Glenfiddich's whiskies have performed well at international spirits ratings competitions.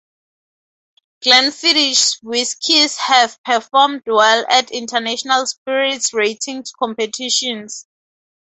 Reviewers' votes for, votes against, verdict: 2, 0, accepted